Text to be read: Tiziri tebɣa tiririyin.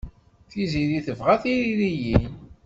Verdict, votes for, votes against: accepted, 2, 1